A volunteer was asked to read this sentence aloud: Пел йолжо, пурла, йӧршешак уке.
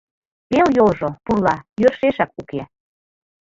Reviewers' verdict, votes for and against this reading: accepted, 2, 0